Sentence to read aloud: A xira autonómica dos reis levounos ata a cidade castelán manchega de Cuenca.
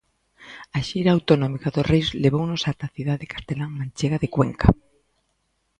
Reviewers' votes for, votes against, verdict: 2, 0, accepted